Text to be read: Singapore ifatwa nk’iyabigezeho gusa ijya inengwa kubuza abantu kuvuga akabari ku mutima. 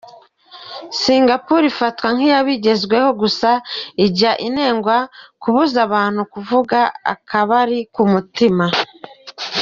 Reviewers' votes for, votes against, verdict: 1, 2, rejected